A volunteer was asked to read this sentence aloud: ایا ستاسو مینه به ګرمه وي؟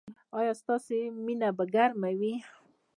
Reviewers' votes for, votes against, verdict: 0, 2, rejected